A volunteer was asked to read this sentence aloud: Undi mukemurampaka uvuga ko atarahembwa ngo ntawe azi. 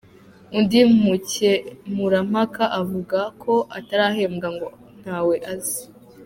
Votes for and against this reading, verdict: 1, 2, rejected